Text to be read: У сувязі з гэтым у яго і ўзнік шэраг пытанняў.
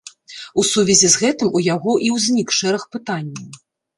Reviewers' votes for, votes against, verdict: 2, 0, accepted